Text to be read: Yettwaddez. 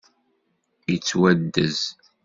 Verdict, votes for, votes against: accepted, 2, 0